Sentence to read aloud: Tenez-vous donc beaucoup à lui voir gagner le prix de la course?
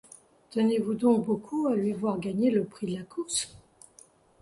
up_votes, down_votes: 0, 2